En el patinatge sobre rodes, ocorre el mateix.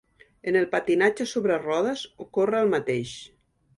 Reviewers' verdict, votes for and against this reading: accepted, 2, 0